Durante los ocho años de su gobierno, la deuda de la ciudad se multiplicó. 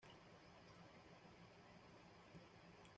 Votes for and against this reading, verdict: 1, 2, rejected